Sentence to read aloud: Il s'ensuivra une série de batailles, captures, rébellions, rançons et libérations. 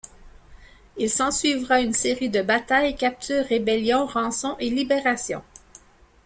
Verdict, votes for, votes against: accepted, 2, 0